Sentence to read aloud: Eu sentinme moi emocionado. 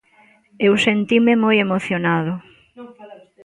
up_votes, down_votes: 2, 0